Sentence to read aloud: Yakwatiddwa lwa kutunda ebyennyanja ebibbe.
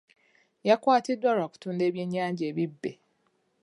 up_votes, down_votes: 2, 0